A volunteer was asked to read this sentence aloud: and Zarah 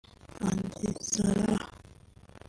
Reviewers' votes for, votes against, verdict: 1, 2, rejected